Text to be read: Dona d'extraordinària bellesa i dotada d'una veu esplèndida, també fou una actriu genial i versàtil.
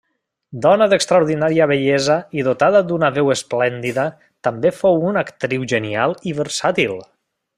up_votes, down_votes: 3, 0